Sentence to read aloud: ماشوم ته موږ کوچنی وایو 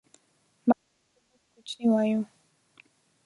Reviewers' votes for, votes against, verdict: 1, 2, rejected